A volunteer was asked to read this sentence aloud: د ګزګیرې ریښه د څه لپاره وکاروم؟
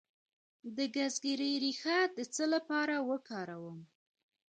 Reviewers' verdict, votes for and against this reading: accepted, 2, 0